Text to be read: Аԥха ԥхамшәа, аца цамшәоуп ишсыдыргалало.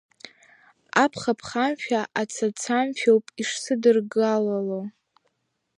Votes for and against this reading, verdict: 1, 2, rejected